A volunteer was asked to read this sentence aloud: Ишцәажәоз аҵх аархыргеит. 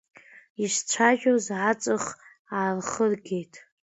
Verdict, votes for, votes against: rejected, 0, 2